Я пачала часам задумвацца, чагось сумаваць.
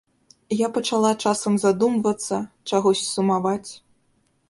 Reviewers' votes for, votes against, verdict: 2, 0, accepted